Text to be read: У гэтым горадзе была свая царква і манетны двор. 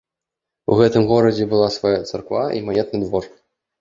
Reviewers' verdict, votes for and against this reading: accepted, 2, 0